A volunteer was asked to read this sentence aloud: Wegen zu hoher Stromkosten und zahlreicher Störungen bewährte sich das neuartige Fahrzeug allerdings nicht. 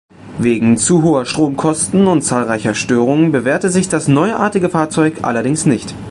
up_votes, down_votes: 2, 1